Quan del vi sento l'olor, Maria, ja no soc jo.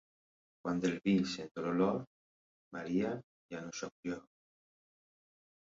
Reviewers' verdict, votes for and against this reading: accepted, 2, 0